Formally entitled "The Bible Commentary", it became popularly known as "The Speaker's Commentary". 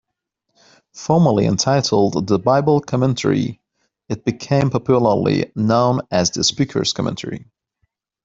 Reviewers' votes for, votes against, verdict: 2, 0, accepted